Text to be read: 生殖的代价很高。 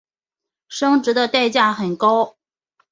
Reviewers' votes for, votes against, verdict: 3, 0, accepted